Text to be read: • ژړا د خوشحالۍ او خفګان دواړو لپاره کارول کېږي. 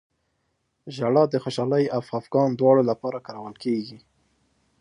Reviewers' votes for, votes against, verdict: 2, 0, accepted